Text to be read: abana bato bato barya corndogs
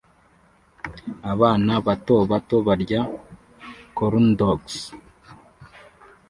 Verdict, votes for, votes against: accepted, 2, 0